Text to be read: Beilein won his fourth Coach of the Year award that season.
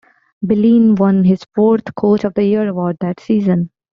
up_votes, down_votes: 0, 2